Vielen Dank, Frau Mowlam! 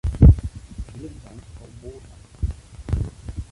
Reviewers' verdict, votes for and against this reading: rejected, 0, 2